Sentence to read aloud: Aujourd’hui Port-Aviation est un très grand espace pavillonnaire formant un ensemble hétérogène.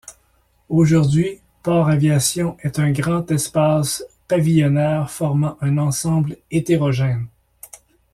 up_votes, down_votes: 1, 2